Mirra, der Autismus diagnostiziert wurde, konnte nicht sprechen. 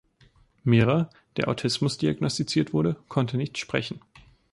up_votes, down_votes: 2, 0